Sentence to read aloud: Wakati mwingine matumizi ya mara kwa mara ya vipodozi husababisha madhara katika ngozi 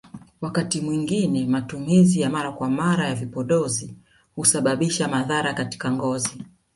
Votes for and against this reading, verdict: 2, 1, accepted